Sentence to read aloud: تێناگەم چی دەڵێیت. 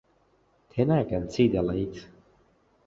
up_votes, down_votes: 2, 0